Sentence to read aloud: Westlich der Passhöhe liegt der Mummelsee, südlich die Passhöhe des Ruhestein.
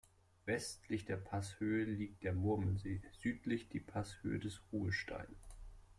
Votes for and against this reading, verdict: 0, 2, rejected